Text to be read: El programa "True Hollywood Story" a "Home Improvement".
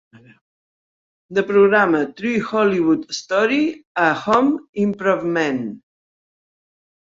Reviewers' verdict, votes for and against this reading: rejected, 0, 2